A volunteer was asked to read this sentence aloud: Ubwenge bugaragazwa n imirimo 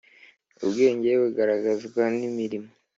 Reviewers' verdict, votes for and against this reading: accepted, 3, 1